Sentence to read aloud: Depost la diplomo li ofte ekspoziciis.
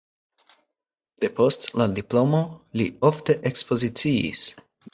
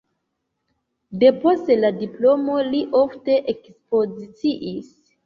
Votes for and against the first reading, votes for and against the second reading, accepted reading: 4, 0, 0, 2, first